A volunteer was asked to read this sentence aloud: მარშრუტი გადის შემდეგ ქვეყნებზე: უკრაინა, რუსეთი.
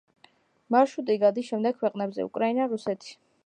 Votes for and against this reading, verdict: 0, 2, rejected